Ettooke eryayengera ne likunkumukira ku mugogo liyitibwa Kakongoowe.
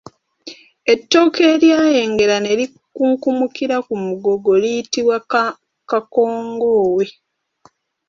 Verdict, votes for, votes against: rejected, 2, 3